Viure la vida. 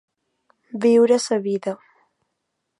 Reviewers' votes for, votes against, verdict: 1, 2, rejected